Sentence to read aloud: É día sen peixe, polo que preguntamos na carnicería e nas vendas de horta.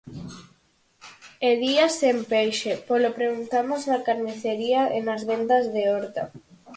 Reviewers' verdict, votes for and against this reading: rejected, 0, 4